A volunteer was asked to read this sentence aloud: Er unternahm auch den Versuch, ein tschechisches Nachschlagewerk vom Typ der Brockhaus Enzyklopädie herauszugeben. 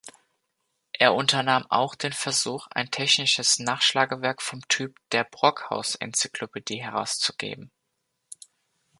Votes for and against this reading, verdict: 0, 2, rejected